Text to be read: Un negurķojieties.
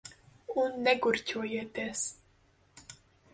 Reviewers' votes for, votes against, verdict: 0, 8, rejected